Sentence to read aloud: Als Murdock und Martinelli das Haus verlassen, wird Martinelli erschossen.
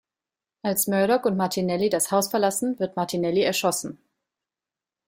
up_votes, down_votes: 2, 0